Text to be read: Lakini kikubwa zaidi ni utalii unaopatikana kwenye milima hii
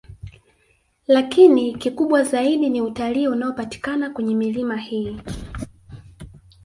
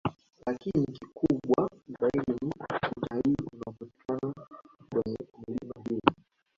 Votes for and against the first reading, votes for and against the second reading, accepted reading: 2, 0, 1, 3, first